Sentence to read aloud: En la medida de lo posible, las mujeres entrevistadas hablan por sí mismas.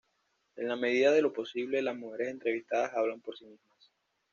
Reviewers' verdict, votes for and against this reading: accepted, 2, 0